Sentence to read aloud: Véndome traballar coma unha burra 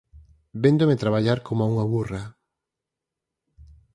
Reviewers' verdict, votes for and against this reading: accepted, 4, 0